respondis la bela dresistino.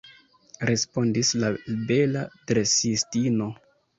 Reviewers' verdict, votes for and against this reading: rejected, 1, 2